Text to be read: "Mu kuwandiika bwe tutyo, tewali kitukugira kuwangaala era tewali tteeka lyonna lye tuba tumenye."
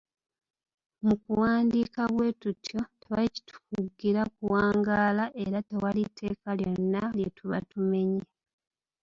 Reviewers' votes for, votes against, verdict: 2, 0, accepted